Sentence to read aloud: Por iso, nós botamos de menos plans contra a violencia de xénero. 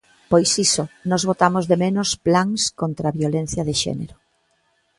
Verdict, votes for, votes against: rejected, 1, 2